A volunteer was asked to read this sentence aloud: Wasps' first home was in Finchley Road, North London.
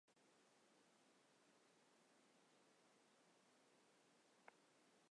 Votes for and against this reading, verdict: 0, 2, rejected